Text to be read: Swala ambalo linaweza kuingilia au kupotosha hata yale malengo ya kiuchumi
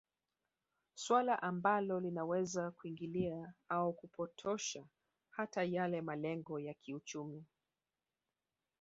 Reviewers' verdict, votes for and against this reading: rejected, 1, 2